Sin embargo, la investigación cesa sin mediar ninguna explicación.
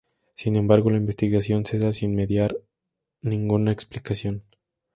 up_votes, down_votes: 2, 0